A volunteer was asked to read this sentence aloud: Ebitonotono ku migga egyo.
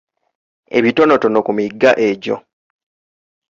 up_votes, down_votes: 2, 0